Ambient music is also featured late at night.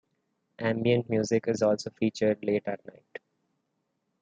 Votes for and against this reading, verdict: 2, 1, accepted